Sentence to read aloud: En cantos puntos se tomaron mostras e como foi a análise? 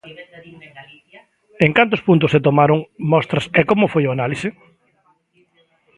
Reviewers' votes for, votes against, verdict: 0, 2, rejected